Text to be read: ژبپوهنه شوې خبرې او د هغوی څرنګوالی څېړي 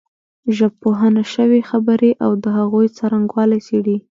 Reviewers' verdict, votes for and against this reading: accepted, 2, 0